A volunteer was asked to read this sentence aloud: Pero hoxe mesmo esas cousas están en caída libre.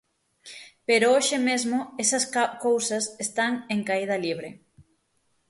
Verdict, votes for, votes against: rejected, 0, 6